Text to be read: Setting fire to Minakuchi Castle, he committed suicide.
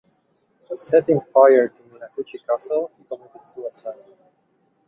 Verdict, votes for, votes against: accepted, 2, 0